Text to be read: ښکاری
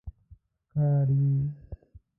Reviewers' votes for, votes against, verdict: 1, 2, rejected